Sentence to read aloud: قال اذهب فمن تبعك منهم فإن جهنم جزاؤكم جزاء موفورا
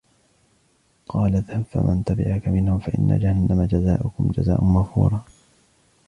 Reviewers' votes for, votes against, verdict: 2, 1, accepted